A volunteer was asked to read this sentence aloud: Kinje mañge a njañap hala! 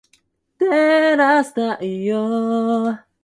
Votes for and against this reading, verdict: 0, 2, rejected